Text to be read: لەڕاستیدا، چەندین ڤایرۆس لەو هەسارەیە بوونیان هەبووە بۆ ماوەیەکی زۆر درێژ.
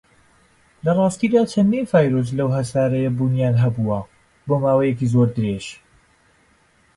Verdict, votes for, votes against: accepted, 2, 1